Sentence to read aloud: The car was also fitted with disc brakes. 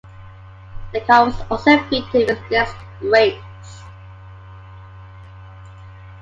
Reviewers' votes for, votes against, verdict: 2, 1, accepted